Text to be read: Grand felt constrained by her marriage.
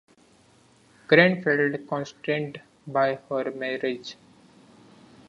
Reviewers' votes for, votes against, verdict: 1, 2, rejected